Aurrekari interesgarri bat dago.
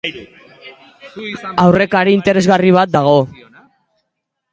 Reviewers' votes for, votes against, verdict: 0, 2, rejected